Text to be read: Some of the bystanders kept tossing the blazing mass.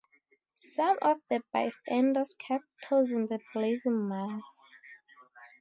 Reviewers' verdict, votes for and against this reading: rejected, 2, 2